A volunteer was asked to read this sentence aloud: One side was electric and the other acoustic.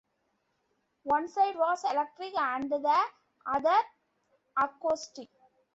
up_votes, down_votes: 2, 1